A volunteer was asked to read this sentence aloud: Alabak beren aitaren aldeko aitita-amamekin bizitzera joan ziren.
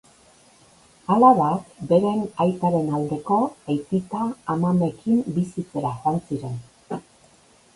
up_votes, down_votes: 2, 2